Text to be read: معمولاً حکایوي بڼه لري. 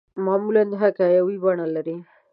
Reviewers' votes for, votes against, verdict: 2, 0, accepted